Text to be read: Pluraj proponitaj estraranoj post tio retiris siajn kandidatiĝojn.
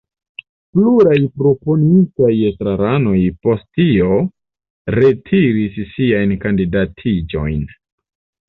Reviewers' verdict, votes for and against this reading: accepted, 2, 0